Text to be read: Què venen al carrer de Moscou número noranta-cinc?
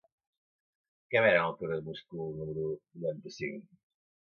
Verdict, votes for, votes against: rejected, 1, 2